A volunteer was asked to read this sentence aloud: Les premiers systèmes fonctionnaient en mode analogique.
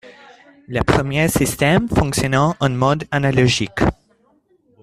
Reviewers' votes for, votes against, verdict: 0, 2, rejected